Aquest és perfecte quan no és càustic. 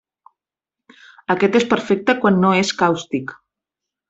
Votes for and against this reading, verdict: 3, 0, accepted